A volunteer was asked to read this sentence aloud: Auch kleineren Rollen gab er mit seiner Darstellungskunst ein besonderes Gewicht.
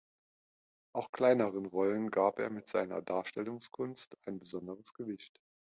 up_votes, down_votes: 2, 0